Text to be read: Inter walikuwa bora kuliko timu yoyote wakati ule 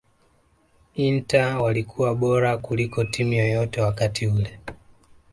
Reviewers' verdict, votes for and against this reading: accepted, 2, 1